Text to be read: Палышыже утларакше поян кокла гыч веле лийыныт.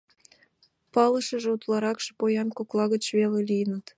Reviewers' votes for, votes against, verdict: 2, 0, accepted